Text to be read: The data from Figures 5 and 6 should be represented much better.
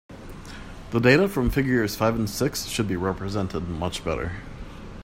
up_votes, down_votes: 0, 2